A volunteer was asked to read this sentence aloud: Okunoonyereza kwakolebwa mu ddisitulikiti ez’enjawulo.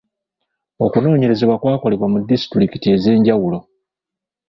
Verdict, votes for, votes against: rejected, 1, 2